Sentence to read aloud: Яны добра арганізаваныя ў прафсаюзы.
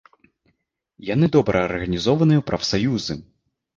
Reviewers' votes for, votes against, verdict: 0, 2, rejected